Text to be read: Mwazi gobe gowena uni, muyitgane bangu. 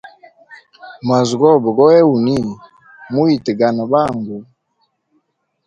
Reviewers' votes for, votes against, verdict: 2, 0, accepted